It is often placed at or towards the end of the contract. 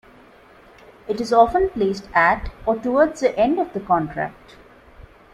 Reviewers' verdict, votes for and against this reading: accepted, 2, 0